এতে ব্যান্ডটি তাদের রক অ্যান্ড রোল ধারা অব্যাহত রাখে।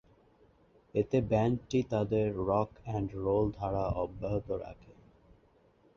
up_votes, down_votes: 0, 2